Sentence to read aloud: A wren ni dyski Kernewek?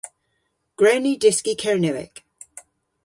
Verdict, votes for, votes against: rejected, 0, 2